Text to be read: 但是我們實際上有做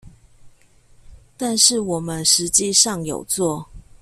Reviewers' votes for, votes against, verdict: 2, 0, accepted